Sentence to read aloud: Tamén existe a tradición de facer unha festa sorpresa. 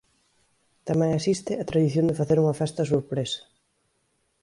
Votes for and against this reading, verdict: 3, 0, accepted